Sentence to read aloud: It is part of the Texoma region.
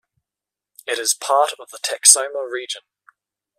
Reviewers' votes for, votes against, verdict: 2, 0, accepted